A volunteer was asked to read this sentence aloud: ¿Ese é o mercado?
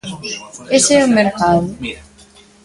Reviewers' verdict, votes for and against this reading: accepted, 2, 1